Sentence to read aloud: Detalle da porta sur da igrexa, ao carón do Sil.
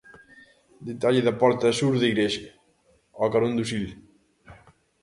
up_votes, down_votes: 2, 0